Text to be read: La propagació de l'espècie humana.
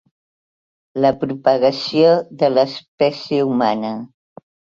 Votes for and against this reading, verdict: 3, 0, accepted